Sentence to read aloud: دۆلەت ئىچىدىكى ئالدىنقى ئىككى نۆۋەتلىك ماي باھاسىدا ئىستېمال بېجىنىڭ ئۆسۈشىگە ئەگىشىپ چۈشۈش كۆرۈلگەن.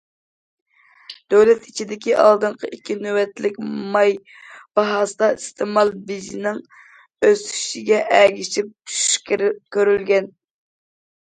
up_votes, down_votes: 0, 2